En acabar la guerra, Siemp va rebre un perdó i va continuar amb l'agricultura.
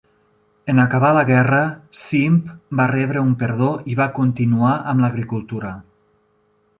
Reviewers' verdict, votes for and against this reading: rejected, 0, 2